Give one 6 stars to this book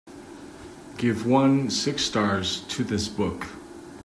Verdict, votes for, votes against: rejected, 0, 2